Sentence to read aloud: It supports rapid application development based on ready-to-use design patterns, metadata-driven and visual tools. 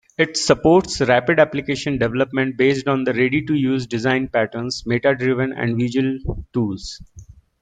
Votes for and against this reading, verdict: 3, 2, accepted